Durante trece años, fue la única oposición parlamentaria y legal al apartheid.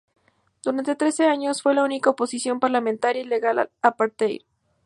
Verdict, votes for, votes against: rejected, 0, 2